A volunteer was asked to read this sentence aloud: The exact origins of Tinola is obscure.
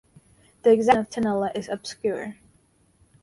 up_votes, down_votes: 0, 4